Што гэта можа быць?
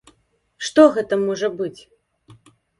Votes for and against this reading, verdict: 2, 0, accepted